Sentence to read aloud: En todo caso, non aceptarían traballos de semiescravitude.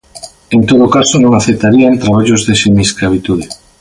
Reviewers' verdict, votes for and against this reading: accepted, 2, 0